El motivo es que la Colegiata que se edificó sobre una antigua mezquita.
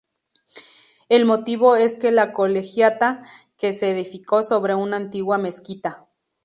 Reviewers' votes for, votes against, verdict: 2, 0, accepted